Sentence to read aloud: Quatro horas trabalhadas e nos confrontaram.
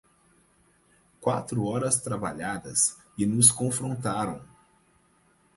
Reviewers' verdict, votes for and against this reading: accepted, 4, 0